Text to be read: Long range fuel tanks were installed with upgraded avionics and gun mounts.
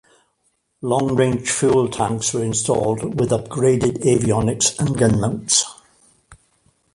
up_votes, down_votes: 2, 0